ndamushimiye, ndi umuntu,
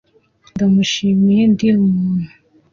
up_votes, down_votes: 2, 1